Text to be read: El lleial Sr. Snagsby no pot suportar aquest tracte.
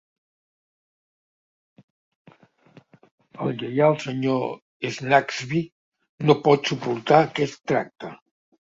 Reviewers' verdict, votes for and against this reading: accepted, 2, 0